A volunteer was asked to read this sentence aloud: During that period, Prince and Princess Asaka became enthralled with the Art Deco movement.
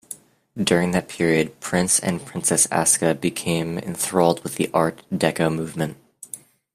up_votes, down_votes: 0, 2